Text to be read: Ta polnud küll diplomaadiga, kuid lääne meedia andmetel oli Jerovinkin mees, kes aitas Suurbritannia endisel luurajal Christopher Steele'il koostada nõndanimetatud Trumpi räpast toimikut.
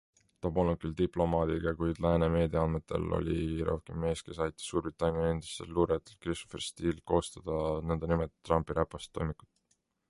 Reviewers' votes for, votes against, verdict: 2, 0, accepted